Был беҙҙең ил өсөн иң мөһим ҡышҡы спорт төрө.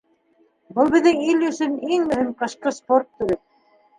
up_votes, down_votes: 2, 3